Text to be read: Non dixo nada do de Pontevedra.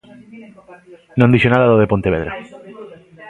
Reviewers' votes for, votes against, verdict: 1, 2, rejected